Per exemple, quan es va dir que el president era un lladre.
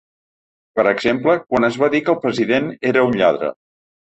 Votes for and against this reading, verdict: 3, 0, accepted